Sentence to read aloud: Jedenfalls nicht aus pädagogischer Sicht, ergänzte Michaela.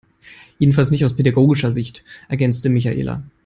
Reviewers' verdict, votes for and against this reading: accepted, 2, 0